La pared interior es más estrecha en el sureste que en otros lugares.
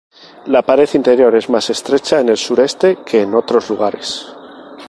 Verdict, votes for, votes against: accepted, 4, 0